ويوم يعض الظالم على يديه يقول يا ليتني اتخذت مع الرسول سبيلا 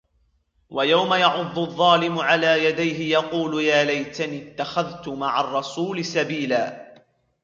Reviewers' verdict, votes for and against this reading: rejected, 1, 2